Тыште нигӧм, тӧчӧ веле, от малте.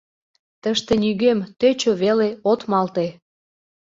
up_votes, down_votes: 2, 0